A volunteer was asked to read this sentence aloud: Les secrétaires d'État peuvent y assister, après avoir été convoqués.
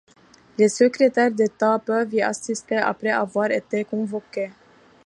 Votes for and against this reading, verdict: 2, 0, accepted